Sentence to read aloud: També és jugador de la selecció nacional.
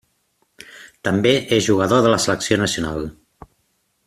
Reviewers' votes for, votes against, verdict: 3, 0, accepted